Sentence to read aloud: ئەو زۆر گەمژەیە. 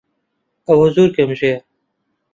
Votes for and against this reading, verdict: 1, 2, rejected